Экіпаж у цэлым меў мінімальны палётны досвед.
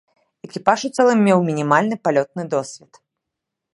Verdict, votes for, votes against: accepted, 2, 0